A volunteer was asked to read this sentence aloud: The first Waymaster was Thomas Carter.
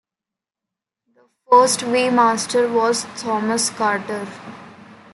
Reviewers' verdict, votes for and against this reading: accepted, 2, 0